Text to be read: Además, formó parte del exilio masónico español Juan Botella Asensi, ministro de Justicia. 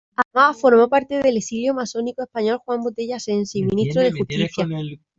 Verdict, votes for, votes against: rejected, 0, 2